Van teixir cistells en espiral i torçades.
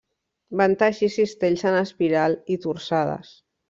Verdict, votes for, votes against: rejected, 1, 2